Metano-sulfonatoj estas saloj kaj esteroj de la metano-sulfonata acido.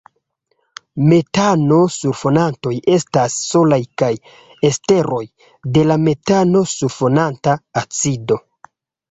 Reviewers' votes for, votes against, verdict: 1, 2, rejected